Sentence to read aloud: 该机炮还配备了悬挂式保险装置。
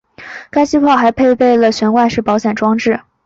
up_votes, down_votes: 2, 0